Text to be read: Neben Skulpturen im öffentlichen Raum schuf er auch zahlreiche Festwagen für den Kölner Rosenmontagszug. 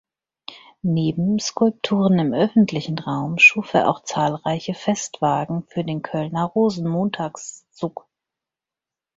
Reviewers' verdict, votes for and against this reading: accepted, 4, 0